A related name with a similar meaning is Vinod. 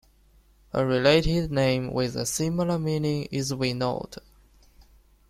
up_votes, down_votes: 2, 0